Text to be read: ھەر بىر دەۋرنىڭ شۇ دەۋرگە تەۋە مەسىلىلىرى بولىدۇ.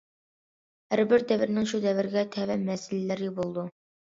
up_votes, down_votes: 2, 0